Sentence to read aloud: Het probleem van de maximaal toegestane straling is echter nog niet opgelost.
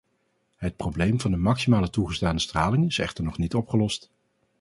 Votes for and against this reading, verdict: 0, 2, rejected